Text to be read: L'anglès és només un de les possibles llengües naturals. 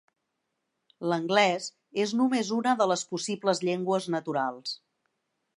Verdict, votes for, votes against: rejected, 1, 2